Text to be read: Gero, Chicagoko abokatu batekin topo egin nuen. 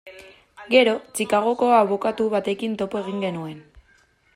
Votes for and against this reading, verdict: 0, 2, rejected